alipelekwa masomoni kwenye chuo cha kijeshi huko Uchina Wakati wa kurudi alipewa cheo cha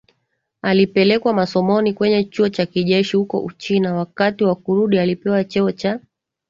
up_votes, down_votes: 2, 0